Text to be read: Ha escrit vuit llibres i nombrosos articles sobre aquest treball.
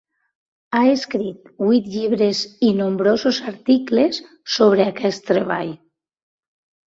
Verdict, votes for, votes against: accepted, 2, 0